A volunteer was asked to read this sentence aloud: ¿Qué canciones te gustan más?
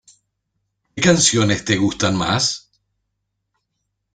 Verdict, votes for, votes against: rejected, 1, 2